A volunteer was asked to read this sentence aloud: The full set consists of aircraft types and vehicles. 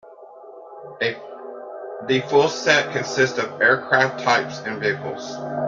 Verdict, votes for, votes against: accepted, 2, 0